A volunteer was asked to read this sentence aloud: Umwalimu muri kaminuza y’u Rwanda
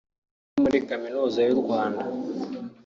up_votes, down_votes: 0, 2